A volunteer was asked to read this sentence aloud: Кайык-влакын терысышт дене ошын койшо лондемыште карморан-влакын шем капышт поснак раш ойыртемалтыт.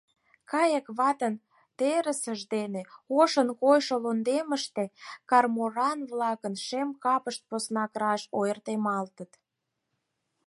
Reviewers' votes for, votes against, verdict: 0, 4, rejected